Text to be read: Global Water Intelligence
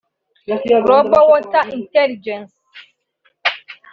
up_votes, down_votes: 0, 2